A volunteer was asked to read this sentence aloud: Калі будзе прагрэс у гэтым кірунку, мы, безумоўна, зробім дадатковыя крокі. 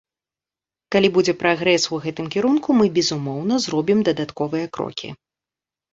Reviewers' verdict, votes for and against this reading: accepted, 4, 0